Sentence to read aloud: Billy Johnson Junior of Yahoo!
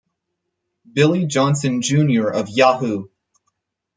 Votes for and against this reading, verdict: 4, 0, accepted